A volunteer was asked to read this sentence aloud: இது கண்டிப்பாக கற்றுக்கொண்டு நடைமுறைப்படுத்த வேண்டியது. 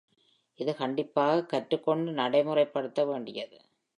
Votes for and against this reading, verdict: 1, 2, rejected